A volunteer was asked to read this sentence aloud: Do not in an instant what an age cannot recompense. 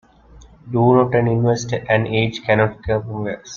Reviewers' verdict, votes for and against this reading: rejected, 0, 2